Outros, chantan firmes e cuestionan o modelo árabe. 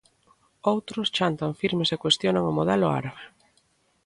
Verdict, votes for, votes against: accepted, 2, 0